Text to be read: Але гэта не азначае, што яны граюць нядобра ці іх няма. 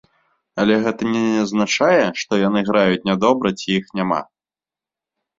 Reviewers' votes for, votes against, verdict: 1, 2, rejected